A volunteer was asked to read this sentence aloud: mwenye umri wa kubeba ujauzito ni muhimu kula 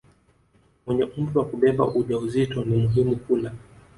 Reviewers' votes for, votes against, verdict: 2, 0, accepted